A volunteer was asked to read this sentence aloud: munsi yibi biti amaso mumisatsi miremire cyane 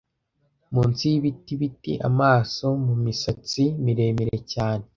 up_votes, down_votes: 1, 2